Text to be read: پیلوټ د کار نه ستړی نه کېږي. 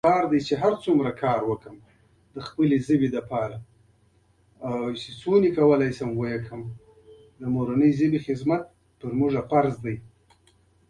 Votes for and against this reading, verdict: 1, 2, rejected